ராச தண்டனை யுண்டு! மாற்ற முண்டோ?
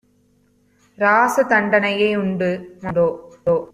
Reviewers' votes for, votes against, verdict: 0, 2, rejected